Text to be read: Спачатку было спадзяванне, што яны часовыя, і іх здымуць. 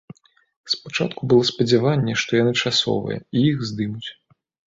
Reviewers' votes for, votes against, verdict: 2, 0, accepted